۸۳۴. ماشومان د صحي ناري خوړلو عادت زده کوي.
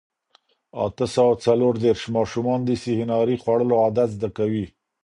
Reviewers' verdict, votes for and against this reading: rejected, 0, 2